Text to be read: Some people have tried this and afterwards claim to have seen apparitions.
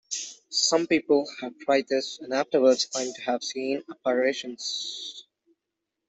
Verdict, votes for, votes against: accepted, 2, 1